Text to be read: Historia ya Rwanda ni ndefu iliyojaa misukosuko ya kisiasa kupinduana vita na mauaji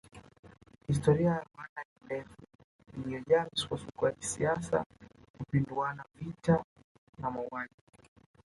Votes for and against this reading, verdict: 0, 2, rejected